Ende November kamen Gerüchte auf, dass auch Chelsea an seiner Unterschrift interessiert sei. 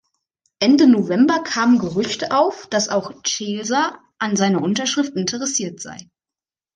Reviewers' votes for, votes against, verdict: 0, 2, rejected